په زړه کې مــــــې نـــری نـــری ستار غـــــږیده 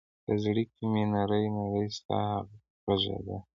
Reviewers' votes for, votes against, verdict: 2, 0, accepted